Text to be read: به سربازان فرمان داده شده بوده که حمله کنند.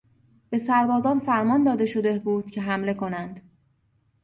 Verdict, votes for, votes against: accepted, 2, 0